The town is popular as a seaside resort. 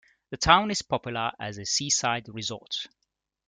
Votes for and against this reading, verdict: 2, 0, accepted